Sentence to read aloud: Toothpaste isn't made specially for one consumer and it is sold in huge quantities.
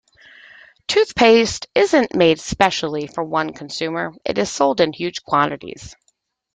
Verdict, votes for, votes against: rejected, 0, 2